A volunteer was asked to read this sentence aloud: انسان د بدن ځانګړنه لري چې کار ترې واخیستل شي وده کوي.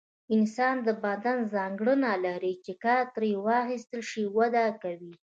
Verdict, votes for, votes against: accepted, 2, 0